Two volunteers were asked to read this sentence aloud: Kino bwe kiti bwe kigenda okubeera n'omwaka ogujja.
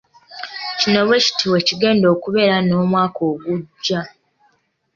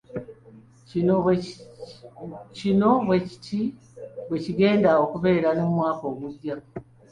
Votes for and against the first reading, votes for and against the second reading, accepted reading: 2, 1, 1, 2, first